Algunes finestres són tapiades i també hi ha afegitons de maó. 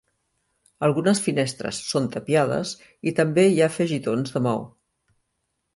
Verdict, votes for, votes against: accepted, 3, 0